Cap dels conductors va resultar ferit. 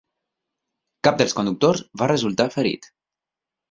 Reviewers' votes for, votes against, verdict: 6, 0, accepted